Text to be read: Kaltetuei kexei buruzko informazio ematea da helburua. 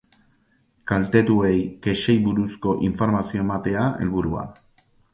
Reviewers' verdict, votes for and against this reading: rejected, 0, 2